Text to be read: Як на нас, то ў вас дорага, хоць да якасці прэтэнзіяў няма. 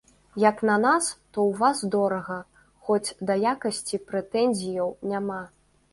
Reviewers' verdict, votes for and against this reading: accepted, 2, 0